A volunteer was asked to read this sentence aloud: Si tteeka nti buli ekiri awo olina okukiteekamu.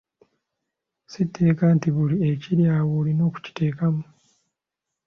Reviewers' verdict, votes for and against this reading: accepted, 2, 0